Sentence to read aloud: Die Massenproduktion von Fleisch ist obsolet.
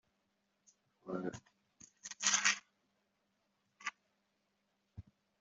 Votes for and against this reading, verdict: 0, 2, rejected